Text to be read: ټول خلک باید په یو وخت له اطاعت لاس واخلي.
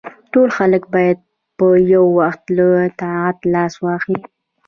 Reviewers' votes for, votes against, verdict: 0, 2, rejected